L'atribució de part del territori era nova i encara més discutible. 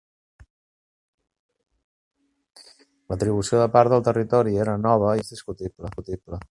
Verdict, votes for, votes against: rejected, 0, 3